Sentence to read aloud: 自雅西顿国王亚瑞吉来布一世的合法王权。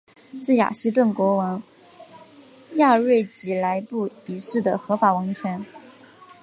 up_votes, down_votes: 0, 2